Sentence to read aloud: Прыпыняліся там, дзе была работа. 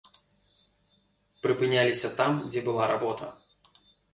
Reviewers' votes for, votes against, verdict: 2, 0, accepted